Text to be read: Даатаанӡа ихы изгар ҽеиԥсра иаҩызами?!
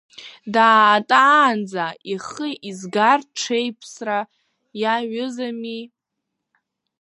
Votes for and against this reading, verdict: 0, 2, rejected